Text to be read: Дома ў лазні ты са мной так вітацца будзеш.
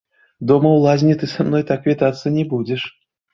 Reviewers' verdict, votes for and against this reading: rejected, 1, 3